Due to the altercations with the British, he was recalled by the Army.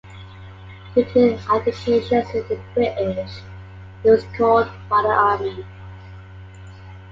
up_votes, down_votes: 0, 2